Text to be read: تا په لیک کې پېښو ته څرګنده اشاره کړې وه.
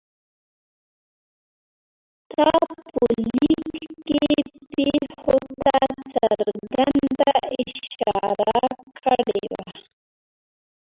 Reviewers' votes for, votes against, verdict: 0, 6, rejected